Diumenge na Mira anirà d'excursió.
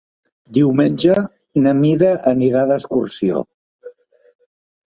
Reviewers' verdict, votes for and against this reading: accepted, 3, 0